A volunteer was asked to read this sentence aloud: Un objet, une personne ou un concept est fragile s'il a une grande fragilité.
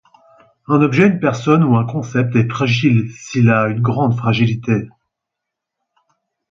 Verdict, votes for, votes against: accepted, 4, 0